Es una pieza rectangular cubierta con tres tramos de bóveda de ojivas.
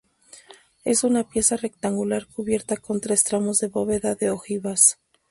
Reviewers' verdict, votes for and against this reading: rejected, 0, 2